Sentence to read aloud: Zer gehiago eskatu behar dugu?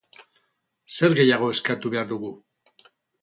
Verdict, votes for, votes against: accepted, 4, 0